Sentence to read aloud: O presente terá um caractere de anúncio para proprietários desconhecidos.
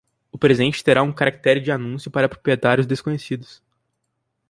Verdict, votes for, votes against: accepted, 4, 2